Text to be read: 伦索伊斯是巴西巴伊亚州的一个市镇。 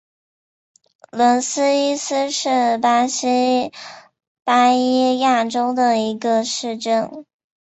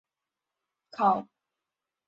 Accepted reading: first